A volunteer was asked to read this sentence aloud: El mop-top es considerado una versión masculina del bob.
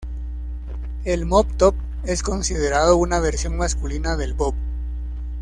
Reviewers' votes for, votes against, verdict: 2, 0, accepted